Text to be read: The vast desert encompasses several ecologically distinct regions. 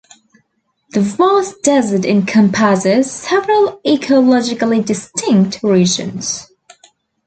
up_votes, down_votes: 2, 1